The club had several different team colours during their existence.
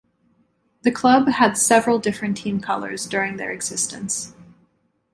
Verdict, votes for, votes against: accepted, 2, 0